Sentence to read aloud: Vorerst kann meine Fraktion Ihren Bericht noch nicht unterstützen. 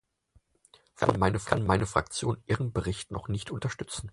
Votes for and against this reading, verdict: 0, 4, rejected